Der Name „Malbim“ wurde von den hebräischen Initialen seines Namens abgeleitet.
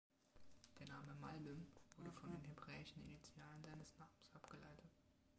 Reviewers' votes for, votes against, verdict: 1, 2, rejected